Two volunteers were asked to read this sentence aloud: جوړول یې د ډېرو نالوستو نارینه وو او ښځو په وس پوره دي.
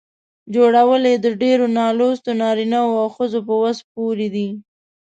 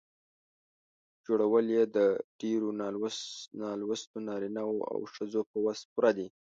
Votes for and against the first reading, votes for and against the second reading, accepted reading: 3, 0, 1, 2, first